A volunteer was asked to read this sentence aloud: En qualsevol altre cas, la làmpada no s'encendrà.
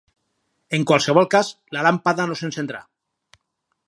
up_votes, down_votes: 2, 2